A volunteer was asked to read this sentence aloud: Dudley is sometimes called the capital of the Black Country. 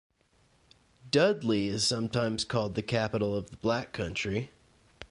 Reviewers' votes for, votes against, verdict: 3, 0, accepted